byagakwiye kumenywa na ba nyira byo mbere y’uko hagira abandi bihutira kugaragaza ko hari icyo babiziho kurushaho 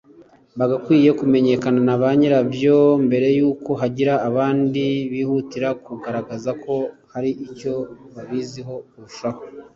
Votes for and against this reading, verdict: 1, 2, rejected